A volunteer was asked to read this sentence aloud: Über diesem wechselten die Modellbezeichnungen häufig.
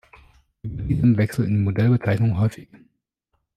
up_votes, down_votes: 0, 2